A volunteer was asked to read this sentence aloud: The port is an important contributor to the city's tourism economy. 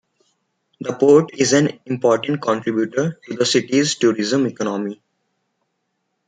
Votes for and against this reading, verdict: 2, 0, accepted